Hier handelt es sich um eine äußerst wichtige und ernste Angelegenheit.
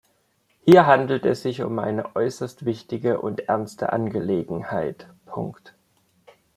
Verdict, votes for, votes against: accepted, 2, 1